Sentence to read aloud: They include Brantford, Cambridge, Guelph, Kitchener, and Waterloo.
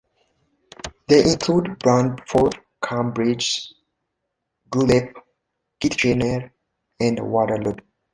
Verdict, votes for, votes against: rejected, 1, 2